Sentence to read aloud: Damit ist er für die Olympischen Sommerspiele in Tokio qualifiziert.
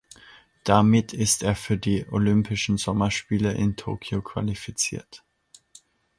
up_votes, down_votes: 2, 0